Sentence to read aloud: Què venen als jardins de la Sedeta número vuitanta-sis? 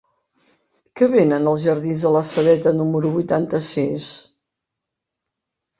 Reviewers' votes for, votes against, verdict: 1, 2, rejected